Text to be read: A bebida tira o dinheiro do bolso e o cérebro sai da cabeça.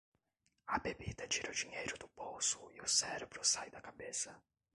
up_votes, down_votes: 0, 2